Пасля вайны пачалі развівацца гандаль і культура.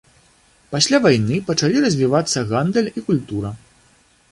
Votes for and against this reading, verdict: 2, 0, accepted